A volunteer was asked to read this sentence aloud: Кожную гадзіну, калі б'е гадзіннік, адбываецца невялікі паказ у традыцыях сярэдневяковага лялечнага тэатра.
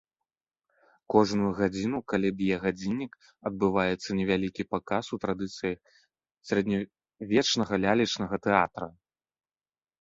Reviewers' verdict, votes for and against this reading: rejected, 0, 2